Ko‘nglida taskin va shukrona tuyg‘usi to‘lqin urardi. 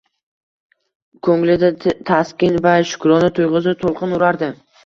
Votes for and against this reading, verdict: 1, 2, rejected